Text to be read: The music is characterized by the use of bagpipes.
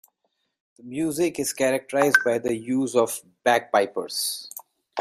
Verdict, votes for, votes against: rejected, 0, 2